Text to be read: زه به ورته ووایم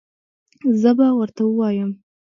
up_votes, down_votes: 3, 0